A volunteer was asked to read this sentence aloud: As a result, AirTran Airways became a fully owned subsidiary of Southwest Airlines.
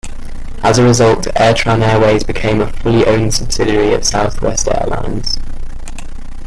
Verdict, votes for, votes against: rejected, 1, 2